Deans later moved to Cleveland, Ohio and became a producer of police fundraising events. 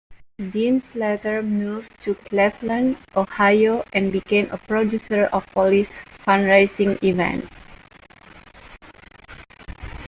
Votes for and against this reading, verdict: 1, 2, rejected